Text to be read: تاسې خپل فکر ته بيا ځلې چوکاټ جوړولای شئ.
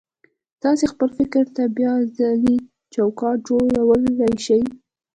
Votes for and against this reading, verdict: 2, 0, accepted